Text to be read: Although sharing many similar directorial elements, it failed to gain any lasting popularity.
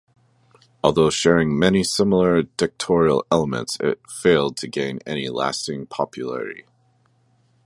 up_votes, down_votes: 1, 2